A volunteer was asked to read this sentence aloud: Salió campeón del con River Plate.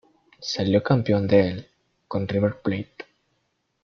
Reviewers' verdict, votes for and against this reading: rejected, 0, 2